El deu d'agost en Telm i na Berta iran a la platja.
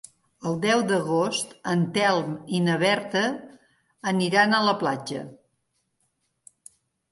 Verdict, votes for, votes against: rejected, 0, 2